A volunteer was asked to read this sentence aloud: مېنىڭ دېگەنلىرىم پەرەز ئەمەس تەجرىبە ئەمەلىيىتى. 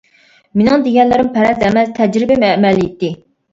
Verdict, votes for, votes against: rejected, 0, 2